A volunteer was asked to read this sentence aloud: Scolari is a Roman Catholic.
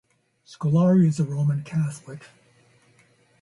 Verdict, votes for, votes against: accepted, 2, 0